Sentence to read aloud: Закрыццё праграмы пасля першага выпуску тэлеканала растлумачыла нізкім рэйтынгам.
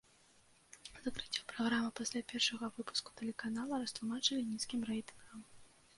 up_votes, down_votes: 1, 2